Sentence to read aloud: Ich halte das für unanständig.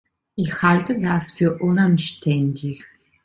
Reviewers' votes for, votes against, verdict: 2, 0, accepted